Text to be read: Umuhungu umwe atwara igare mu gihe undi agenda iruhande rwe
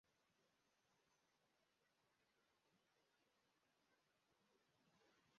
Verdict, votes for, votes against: rejected, 0, 2